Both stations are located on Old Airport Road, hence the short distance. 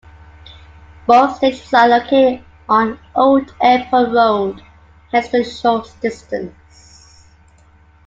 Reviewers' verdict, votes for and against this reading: rejected, 0, 2